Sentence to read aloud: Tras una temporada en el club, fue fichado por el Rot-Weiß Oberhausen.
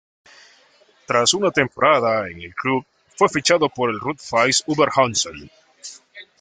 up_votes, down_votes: 2, 0